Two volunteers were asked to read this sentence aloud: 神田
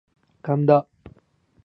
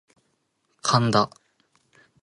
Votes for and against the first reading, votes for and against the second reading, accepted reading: 2, 0, 1, 2, first